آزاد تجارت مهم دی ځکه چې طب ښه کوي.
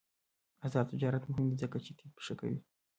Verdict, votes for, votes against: rejected, 0, 2